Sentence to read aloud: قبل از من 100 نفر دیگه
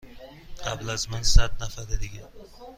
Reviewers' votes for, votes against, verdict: 0, 2, rejected